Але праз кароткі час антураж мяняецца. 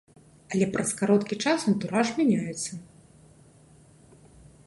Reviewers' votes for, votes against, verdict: 2, 0, accepted